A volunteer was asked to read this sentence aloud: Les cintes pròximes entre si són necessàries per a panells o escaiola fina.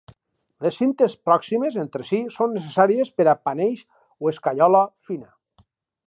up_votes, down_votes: 2, 2